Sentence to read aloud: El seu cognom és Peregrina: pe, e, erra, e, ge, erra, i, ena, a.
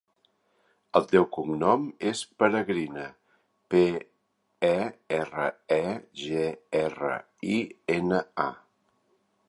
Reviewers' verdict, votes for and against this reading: accepted, 2, 1